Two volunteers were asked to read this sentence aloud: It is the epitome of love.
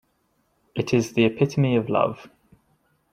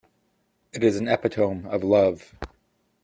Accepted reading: first